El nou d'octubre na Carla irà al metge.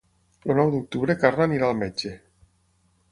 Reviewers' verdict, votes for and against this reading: rejected, 0, 6